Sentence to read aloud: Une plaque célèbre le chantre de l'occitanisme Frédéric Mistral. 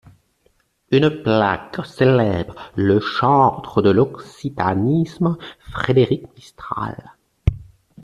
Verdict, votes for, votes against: rejected, 1, 2